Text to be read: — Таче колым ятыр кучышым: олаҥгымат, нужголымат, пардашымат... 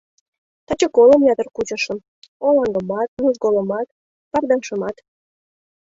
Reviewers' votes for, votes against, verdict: 2, 0, accepted